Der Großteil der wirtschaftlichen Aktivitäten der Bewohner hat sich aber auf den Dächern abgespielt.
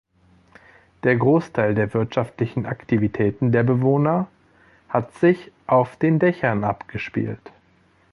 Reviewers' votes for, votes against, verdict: 2, 3, rejected